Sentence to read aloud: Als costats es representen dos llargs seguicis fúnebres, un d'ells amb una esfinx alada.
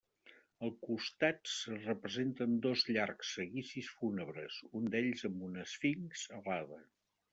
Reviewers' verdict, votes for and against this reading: rejected, 0, 2